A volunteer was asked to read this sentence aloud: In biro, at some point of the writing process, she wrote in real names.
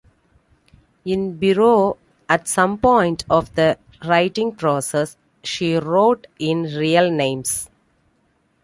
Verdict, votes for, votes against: accepted, 2, 0